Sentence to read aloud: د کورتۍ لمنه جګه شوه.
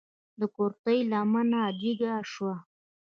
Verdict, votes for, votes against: accepted, 2, 0